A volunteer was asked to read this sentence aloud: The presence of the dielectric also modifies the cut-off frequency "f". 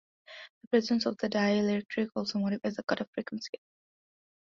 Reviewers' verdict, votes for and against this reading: rejected, 1, 2